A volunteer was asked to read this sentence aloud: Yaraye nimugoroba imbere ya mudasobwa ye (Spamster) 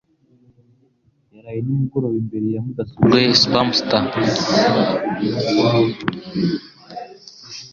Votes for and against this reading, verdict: 1, 2, rejected